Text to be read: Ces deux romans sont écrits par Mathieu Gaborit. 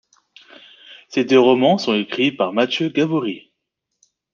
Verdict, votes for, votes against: accepted, 2, 0